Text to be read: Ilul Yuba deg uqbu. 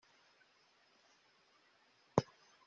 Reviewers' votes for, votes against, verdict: 0, 2, rejected